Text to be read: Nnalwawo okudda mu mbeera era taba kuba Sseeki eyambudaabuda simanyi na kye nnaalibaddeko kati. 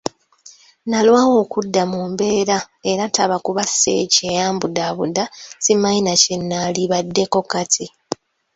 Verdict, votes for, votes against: accepted, 2, 0